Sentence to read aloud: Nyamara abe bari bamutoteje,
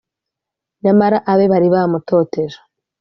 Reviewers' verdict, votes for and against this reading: accepted, 2, 0